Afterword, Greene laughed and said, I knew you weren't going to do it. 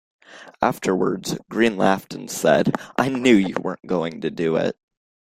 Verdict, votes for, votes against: rejected, 0, 2